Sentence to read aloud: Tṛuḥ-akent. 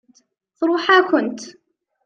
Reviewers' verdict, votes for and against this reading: accepted, 2, 0